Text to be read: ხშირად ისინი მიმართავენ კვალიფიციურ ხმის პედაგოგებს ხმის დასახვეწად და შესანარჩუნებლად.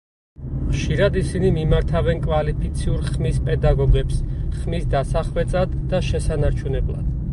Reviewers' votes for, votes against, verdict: 2, 2, rejected